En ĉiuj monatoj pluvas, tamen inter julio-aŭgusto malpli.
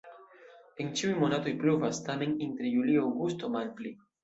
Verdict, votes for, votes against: accepted, 2, 0